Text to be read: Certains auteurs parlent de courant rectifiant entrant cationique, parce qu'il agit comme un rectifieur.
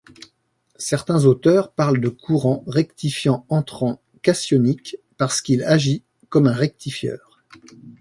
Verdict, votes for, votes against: accepted, 2, 0